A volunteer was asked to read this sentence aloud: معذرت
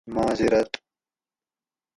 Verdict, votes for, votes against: accepted, 4, 0